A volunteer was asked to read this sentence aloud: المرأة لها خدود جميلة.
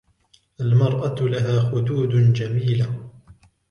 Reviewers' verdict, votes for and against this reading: rejected, 0, 2